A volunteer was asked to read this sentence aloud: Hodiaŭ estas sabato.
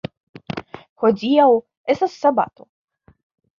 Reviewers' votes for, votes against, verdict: 2, 0, accepted